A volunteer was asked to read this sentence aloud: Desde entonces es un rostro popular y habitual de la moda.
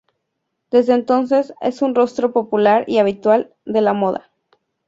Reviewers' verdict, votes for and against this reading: accepted, 2, 0